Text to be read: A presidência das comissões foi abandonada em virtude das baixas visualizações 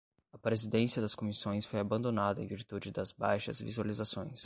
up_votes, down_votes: 0, 5